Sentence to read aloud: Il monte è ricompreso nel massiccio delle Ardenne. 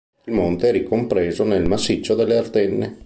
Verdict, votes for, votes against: accepted, 2, 1